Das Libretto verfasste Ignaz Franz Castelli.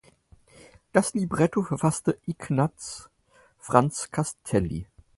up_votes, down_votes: 4, 0